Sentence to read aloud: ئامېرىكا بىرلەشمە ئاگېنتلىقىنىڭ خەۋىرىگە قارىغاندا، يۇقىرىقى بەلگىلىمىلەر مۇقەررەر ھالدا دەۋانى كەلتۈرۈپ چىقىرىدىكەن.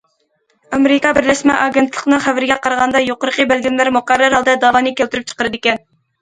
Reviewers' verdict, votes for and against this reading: accepted, 2, 0